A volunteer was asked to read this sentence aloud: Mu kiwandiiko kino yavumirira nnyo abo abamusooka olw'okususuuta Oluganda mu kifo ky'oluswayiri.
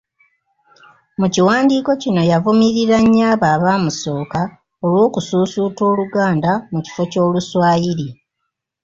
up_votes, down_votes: 0, 2